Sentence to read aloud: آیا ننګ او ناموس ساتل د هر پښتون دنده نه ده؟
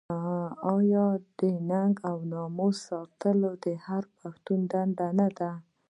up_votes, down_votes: 1, 2